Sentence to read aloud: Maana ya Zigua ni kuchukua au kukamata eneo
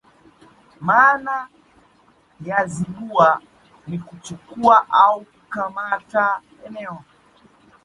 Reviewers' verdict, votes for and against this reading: rejected, 0, 2